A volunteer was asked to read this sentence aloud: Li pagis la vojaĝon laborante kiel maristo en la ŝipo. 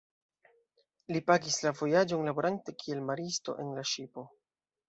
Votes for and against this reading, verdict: 2, 0, accepted